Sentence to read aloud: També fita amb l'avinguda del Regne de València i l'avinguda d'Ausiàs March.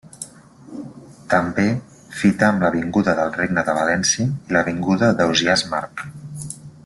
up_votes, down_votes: 2, 0